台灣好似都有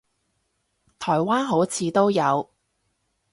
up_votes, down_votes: 2, 0